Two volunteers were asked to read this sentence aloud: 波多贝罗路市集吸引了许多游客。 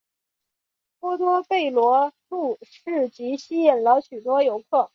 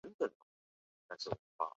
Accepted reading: first